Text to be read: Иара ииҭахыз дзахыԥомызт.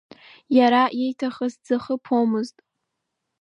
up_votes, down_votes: 1, 2